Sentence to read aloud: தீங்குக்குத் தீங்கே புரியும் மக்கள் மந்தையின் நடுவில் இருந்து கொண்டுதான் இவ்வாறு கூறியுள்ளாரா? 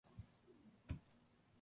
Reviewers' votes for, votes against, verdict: 0, 2, rejected